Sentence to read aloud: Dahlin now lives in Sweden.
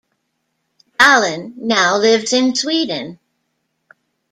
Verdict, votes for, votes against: accepted, 2, 1